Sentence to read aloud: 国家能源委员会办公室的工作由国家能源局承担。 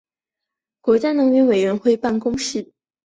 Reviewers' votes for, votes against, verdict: 1, 2, rejected